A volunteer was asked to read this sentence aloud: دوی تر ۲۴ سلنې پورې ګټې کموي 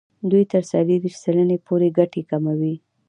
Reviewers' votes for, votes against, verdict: 0, 2, rejected